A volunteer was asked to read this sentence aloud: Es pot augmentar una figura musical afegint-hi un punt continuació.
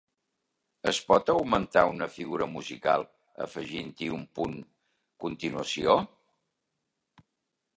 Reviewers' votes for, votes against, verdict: 0, 2, rejected